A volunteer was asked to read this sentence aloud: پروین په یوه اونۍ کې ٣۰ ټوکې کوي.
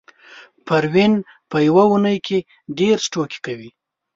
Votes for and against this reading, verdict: 0, 2, rejected